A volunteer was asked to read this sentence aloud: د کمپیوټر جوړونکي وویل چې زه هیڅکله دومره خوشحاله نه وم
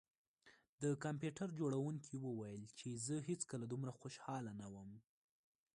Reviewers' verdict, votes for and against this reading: accepted, 2, 0